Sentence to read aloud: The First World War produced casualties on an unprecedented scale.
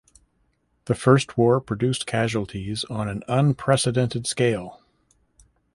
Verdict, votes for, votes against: rejected, 0, 2